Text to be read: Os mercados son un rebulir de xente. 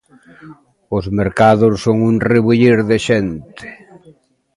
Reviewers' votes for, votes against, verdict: 0, 2, rejected